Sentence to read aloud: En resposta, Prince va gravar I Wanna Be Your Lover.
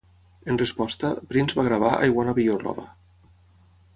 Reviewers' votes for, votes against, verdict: 3, 0, accepted